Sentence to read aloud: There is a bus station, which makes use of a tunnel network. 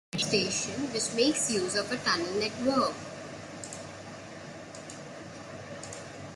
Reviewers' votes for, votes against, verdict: 1, 2, rejected